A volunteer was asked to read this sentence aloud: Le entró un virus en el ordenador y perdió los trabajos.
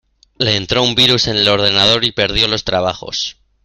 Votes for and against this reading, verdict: 2, 0, accepted